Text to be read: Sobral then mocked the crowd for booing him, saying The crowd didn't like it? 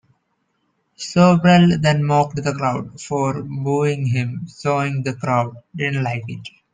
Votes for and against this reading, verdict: 1, 2, rejected